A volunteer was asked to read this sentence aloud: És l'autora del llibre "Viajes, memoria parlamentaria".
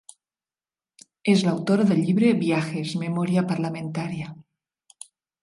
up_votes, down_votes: 0, 2